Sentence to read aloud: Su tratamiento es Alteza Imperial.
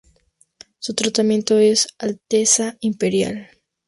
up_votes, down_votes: 2, 0